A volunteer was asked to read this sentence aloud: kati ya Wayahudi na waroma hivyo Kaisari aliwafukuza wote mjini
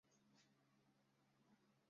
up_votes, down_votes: 0, 2